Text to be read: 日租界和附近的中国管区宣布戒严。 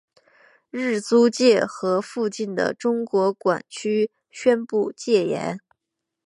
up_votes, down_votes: 9, 0